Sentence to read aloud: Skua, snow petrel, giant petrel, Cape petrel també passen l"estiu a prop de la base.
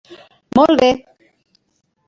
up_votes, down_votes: 0, 2